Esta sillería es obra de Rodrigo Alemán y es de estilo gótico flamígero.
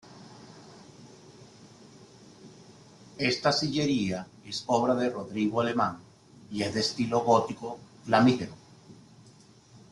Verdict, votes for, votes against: accepted, 2, 0